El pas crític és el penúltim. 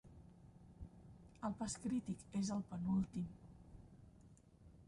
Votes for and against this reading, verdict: 0, 2, rejected